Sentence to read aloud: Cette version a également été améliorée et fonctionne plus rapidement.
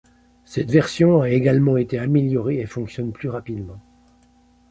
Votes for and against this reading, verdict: 2, 0, accepted